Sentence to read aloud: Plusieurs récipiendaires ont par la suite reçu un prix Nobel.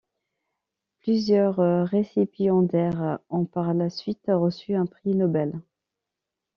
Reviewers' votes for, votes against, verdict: 2, 1, accepted